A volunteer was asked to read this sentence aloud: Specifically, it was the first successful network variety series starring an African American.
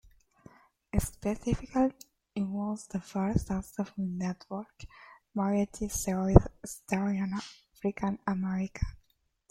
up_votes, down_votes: 1, 2